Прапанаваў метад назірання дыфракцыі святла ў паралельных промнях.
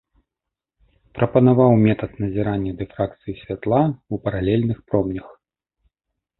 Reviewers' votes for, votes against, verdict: 2, 0, accepted